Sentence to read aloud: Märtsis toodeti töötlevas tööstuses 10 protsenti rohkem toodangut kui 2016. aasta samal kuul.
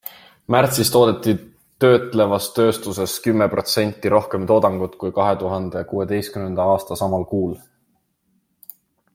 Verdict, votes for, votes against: rejected, 0, 2